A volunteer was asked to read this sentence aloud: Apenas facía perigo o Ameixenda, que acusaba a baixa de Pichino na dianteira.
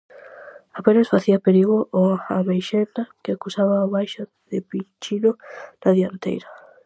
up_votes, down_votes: 2, 2